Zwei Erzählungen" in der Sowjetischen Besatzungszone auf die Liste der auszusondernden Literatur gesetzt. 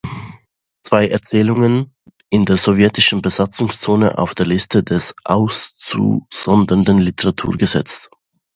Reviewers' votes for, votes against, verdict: 0, 2, rejected